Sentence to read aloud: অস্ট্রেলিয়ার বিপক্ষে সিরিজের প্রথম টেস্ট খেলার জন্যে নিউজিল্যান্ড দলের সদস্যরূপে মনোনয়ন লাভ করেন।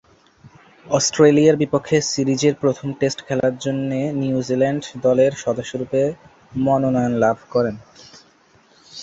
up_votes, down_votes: 2, 2